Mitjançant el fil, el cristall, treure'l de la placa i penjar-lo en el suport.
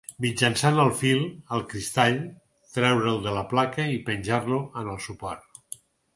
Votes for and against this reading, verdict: 4, 0, accepted